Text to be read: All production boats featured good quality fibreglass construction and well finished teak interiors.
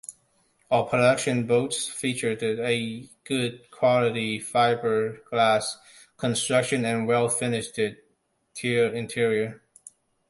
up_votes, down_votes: 0, 2